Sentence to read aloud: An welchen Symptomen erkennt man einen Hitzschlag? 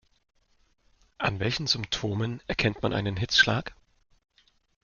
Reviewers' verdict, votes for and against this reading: accepted, 2, 0